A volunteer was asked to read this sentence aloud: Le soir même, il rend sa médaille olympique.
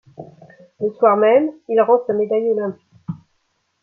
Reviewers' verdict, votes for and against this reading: rejected, 0, 2